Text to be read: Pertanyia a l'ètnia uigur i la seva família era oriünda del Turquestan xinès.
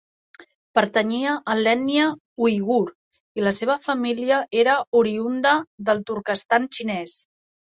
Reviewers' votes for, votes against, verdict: 2, 0, accepted